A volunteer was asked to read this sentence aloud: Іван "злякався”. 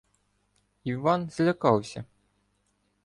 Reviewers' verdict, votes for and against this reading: accepted, 2, 0